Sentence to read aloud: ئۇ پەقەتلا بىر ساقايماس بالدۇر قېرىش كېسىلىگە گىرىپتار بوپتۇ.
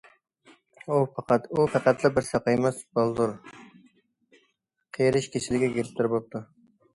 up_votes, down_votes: 0, 2